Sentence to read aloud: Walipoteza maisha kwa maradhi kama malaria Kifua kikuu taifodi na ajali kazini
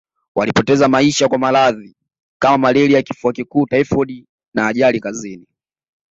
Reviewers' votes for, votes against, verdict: 2, 0, accepted